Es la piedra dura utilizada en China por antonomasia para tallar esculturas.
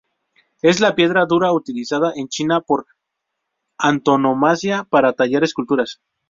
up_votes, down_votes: 2, 0